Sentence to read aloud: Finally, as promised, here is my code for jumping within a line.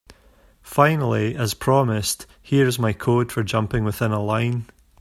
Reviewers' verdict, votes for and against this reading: accepted, 2, 0